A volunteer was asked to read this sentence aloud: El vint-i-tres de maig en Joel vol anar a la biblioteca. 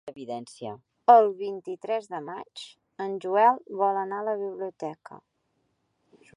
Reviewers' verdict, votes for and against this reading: rejected, 1, 2